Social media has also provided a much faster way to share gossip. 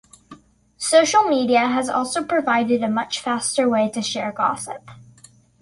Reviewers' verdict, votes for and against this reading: accepted, 2, 0